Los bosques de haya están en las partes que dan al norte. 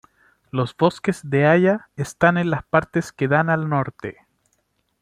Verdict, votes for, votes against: accepted, 2, 0